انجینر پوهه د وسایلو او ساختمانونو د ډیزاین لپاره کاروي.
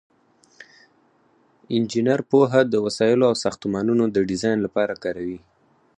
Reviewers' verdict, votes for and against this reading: rejected, 0, 4